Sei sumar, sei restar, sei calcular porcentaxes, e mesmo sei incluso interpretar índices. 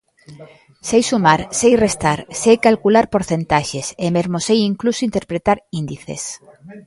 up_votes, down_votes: 0, 2